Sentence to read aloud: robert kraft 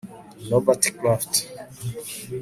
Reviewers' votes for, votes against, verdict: 1, 3, rejected